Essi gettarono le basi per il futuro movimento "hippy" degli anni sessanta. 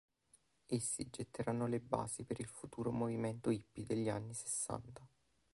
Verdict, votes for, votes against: rejected, 0, 2